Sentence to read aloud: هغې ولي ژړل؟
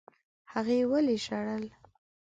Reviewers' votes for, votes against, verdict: 4, 0, accepted